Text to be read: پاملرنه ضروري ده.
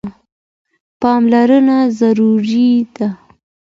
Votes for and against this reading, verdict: 2, 0, accepted